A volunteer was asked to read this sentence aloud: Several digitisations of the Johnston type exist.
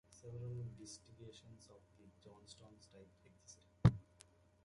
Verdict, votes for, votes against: rejected, 1, 2